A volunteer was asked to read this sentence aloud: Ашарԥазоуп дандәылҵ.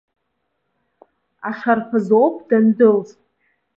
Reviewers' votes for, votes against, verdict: 2, 0, accepted